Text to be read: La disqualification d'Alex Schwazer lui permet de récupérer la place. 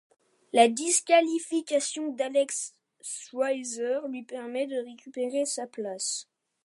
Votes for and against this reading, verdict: 1, 2, rejected